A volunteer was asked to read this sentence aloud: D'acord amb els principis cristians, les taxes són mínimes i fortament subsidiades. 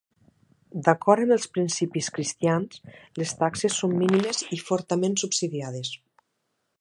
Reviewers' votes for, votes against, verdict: 3, 0, accepted